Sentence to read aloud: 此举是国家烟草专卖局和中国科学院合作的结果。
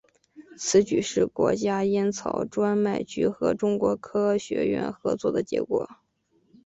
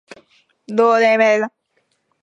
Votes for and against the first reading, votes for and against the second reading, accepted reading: 5, 0, 0, 4, first